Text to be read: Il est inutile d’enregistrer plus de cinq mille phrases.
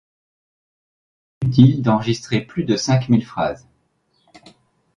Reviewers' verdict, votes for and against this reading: rejected, 0, 2